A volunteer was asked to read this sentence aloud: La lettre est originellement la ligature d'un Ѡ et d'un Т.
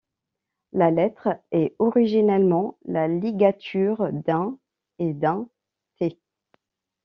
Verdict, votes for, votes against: rejected, 1, 2